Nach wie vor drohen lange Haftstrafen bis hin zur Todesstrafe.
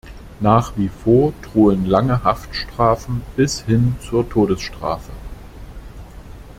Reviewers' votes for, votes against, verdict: 2, 0, accepted